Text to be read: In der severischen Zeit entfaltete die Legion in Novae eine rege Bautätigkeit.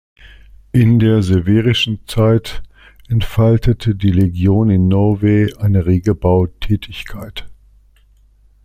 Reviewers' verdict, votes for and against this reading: accepted, 2, 0